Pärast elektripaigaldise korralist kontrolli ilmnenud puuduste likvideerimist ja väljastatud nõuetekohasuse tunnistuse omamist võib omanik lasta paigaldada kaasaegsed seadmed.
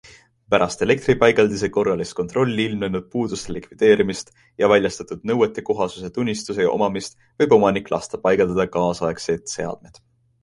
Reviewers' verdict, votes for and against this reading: accepted, 2, 0